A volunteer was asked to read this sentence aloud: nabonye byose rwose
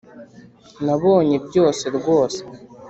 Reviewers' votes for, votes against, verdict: 2, 0, accepted